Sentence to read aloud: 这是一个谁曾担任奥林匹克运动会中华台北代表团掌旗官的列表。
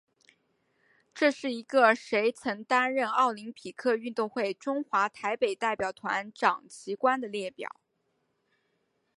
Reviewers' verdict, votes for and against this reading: accepted, 3, 0